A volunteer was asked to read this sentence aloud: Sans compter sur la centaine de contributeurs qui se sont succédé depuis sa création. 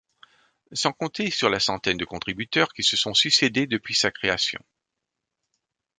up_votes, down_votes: 2, 0